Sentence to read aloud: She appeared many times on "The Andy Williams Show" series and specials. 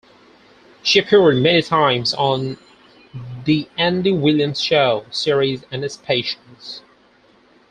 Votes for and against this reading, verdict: 2, 4, rejected